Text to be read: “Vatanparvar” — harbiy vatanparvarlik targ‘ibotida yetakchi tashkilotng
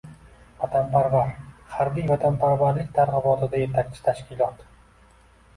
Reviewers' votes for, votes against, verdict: 2, 0, accepted